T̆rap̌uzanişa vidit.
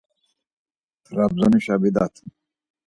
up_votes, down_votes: 2, 4